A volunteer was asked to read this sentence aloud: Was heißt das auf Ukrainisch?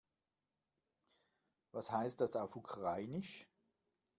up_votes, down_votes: 2, 0